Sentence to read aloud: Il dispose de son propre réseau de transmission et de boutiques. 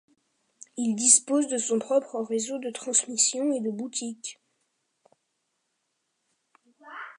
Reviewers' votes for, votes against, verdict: 2, 0, accepted